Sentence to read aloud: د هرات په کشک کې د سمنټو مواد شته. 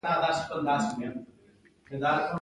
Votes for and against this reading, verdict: 2, 0, accepted